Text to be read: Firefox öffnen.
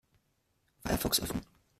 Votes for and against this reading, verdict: 1, 2, rejected